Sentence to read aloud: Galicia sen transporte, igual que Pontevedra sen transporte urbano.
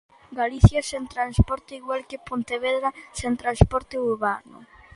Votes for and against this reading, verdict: 2, 0, accepted